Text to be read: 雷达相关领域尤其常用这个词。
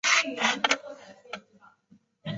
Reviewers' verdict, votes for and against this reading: rejected, 0, 2